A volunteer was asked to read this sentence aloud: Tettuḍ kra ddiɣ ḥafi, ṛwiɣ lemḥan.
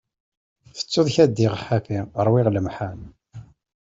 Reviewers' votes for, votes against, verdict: 2, 0, accepted